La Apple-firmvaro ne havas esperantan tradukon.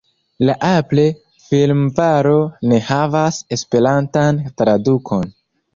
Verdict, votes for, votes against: rejected, 1, 3